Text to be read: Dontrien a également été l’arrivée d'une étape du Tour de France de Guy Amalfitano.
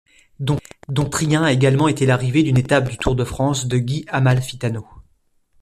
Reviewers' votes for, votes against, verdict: 0, 2, rejected